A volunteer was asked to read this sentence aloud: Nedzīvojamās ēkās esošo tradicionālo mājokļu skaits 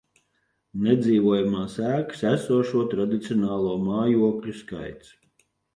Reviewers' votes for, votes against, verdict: 0, 3, rejected